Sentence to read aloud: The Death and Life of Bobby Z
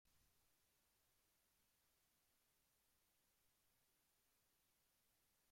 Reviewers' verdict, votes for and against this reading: rejected, 0, 2